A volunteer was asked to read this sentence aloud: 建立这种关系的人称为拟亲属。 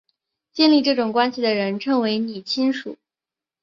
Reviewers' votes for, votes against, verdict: 6, 1, accepted